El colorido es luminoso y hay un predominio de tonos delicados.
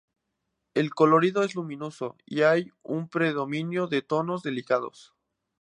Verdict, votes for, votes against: rejected, 0, 2